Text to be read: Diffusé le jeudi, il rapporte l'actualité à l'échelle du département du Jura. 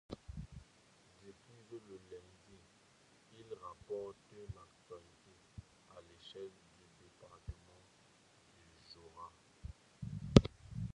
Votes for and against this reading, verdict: 0, 2, rejected